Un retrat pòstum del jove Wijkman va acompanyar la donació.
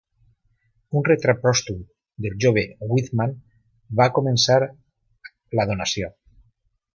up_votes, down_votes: 0, 2